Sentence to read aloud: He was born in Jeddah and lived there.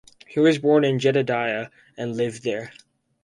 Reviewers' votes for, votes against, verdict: 0, 4, rejected